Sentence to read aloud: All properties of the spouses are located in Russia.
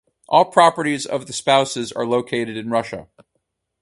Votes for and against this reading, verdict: 4, 0, accepted